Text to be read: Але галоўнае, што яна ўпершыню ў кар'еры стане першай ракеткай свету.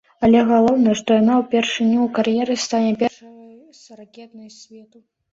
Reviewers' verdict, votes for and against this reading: rejected, 0, 2